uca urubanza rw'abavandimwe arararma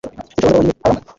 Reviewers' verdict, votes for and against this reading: rejected, 0, 2